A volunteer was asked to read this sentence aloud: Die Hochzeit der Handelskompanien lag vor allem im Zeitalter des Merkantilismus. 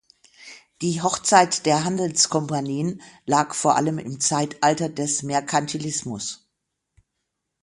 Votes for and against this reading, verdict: 0, 6, rejected